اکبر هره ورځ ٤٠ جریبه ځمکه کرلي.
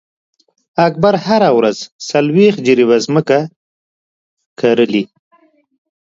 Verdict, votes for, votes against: rejected, 0, 2